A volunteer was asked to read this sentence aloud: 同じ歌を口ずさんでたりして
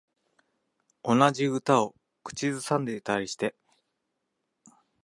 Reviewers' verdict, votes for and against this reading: rejected, 1, 2